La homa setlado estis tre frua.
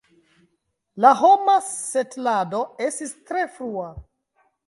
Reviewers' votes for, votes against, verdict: 1, 2, rejected